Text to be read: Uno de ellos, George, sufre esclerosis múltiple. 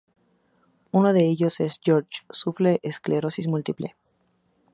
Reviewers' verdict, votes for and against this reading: rejected, 0, 2